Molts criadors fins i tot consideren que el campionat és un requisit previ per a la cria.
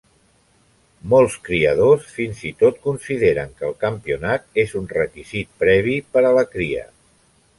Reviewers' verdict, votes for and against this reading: accepted, 3, 0